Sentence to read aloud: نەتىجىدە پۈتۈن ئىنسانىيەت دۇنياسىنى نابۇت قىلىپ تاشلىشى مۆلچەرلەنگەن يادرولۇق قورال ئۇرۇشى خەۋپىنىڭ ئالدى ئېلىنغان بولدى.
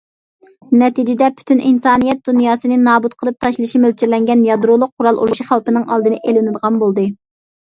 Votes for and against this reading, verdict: 1, 2, rejected